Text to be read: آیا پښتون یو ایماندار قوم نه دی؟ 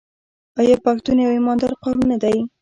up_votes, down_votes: 0, 2